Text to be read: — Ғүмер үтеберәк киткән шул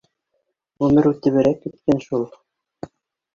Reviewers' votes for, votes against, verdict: 1, 3, rejected